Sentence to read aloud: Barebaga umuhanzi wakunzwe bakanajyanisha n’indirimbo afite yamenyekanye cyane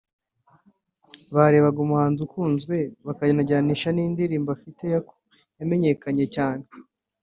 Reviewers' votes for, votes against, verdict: 0, 2, rejected